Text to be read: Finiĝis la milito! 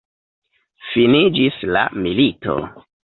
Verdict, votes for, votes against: accepted, 2, 1